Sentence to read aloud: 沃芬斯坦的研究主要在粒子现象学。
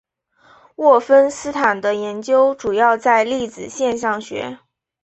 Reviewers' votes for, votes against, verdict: 5, 0, accepted